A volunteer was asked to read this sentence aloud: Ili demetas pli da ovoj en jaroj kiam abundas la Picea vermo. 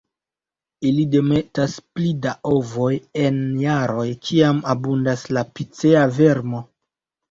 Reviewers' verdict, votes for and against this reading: rejected, 1, 2